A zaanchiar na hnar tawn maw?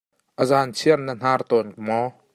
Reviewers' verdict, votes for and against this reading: accepted, 2, 0